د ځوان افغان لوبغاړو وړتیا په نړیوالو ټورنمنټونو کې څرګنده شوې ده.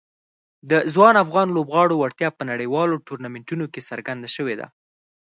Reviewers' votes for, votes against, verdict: 4, 0, accepted